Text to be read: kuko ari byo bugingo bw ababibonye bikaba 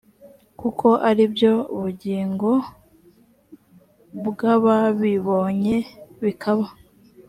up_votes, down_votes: 2, 0